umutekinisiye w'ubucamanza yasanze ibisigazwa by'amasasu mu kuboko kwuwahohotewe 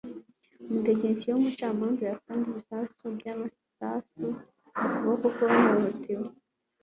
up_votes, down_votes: 2, 0